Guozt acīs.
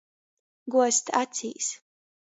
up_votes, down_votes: 2, 0